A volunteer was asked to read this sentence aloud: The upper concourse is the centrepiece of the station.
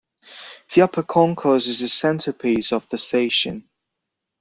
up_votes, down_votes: 2, 1